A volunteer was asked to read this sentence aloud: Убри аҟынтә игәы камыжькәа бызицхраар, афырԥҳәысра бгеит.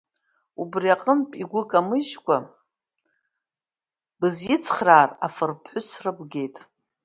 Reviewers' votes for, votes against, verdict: 1, 2, rejected